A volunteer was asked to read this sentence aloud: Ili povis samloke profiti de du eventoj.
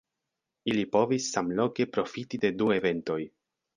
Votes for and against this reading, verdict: 1, 2, rejected